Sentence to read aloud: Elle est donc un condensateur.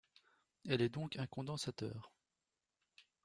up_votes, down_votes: 2, 0